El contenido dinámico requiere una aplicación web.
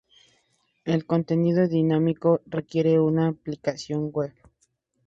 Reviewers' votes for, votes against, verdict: 4, 0, accepted